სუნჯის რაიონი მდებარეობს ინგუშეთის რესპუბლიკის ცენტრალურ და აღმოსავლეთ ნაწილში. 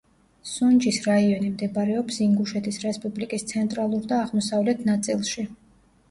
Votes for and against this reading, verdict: 0, 2, rejected